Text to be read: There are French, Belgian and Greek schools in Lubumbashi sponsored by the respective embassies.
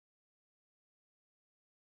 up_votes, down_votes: 0, 2